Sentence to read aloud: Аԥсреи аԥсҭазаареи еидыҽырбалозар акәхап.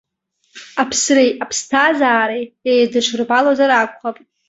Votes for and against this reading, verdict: 2, 0, accepted